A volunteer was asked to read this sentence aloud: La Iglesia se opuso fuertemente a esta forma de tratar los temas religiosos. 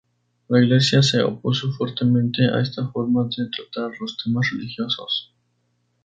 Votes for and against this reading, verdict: 2, 0, accepted